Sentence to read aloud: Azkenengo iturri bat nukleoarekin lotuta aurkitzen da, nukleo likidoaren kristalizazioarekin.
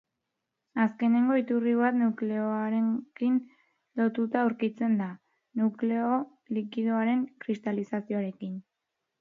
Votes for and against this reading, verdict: 0, 2, rejected